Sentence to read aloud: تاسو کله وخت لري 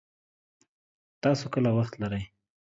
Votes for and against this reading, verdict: 1, 2, rejected